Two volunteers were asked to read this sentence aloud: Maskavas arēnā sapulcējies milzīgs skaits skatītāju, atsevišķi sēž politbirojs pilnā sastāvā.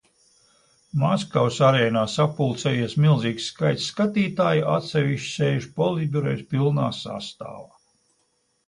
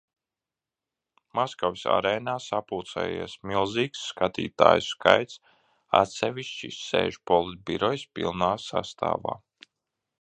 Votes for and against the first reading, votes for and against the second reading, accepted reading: 2, 0, 0, 2, first